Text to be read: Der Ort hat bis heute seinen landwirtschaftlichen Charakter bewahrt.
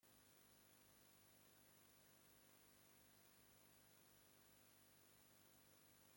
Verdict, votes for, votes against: rejected, 0, 2